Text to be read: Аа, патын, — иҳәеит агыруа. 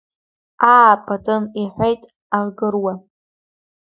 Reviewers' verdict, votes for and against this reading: accepted, 2, 1